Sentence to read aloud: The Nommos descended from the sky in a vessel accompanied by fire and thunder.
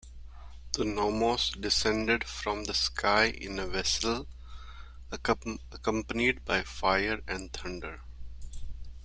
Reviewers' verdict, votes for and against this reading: rejected, 1, 2